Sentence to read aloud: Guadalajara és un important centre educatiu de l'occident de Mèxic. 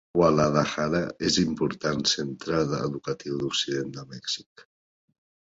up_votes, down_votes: 0, 2